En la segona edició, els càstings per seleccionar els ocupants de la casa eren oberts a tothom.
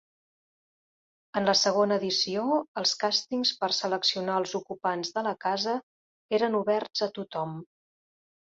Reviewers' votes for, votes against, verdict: 4, 0, accepted